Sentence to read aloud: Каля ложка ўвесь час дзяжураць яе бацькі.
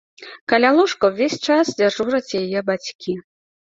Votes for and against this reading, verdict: 2, 0, accepted